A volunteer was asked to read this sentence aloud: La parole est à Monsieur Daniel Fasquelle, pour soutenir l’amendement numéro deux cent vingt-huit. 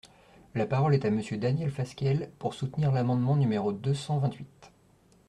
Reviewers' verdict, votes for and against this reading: accepted, 2, 0